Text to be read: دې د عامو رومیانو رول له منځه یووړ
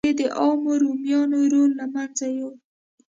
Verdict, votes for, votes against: accepted, 2, 0